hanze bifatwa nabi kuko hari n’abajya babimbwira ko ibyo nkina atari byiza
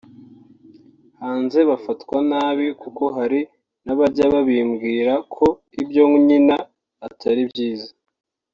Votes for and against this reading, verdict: 0, 2, rejected